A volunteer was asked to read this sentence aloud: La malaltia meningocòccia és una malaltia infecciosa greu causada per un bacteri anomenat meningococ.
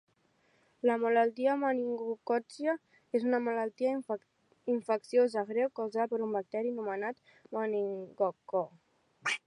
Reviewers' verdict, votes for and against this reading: rejected, 0, 2